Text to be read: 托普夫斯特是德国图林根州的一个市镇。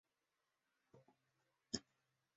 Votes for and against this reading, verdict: 1, 2, rejected